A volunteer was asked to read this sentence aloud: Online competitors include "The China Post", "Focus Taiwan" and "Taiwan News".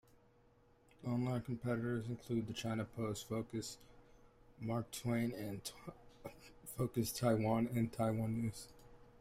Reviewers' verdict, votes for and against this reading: rejected, 1, 2